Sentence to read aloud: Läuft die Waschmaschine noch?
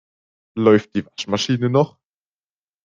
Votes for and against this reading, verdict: 0, 2, rejected